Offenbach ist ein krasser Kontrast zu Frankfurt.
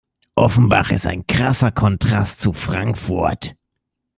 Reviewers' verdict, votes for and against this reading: accepted, 2, 0